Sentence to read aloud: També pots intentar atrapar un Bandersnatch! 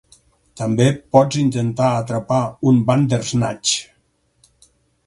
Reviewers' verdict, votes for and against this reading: accepted, 4, 0